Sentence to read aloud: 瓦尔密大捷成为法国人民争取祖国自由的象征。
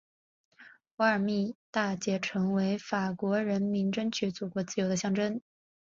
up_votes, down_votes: 2, 0